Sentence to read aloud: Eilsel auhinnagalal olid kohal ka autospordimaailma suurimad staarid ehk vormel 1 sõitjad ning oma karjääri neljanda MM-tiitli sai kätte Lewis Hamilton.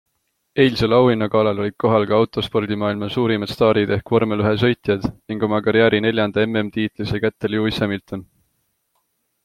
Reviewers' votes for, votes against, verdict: 0, 2, rejected